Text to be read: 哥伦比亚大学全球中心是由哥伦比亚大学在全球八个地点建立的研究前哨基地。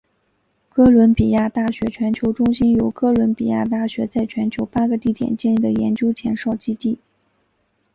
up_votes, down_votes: 3, 1